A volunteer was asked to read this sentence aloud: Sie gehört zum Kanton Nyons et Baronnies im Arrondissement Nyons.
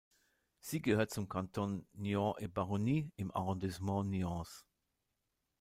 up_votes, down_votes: 0, 2